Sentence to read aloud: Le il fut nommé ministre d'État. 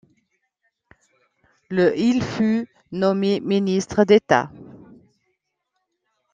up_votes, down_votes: 2, 0